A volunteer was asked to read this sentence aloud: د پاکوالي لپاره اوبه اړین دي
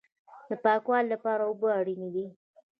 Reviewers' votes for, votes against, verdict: 1, 2, rejected